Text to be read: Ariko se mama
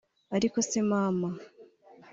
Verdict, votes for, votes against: accepted, 3, 0